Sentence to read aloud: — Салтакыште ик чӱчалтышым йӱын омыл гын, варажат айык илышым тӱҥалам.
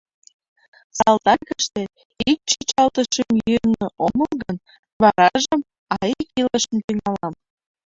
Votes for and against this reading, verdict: 0, 2, rejected